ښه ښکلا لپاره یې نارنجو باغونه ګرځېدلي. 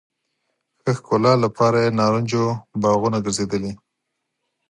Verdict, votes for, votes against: accepted, 6, 0